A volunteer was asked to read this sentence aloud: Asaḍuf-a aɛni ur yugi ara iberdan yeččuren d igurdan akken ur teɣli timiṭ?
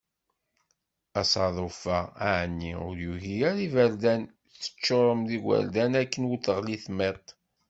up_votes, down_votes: 1, 2